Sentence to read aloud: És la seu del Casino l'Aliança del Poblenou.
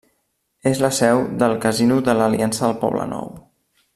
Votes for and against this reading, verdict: 0, 2, rejected